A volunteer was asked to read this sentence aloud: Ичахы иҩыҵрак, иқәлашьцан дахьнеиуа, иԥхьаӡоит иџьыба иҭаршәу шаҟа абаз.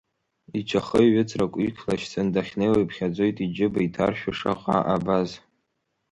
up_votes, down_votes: 2, 1